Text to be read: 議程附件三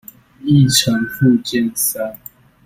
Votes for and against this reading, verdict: 2, 0, accepted